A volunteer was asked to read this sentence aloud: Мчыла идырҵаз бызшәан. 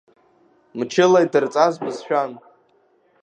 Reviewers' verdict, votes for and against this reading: accepted, 3, 0